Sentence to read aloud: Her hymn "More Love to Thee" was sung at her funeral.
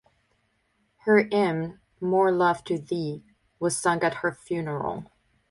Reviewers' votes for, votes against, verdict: 0, 2, rejected